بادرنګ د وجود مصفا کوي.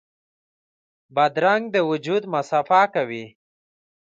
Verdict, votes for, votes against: accepted, 2, 0